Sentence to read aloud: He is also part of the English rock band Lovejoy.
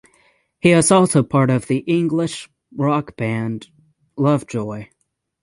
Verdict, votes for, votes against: accepted, 3, 0